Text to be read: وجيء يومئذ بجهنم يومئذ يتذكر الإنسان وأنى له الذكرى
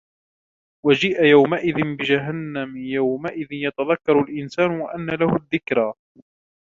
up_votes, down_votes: 1, 2